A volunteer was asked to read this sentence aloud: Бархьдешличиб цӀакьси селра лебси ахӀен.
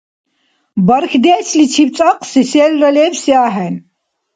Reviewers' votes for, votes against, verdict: 2, 0, accepted